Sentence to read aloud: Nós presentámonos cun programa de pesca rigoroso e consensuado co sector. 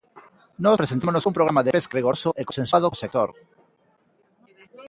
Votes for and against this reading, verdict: 0, 2, rejected